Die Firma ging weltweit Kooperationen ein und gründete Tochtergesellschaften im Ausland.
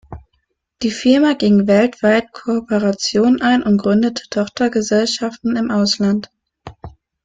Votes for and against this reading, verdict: 2, 1, accepted